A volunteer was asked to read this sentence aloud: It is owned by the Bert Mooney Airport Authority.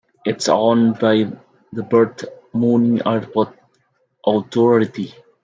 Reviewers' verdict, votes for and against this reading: accepted, 3, 2